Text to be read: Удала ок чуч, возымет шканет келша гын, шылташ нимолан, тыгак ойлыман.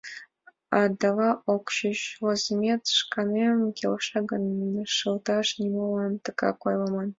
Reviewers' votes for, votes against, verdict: 2, 4, rejected